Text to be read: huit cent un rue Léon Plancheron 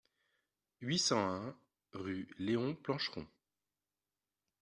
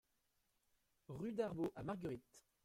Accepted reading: first